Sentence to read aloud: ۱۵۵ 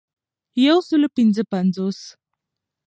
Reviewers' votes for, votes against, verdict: 0, 2, rejected